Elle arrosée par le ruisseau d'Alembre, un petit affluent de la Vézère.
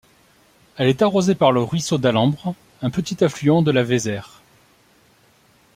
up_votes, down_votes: 1, 2